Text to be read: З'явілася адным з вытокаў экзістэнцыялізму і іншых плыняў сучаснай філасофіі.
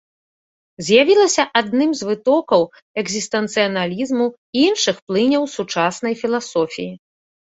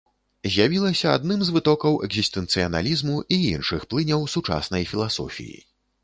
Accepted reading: first